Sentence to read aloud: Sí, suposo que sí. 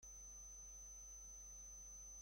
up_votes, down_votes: 0, 2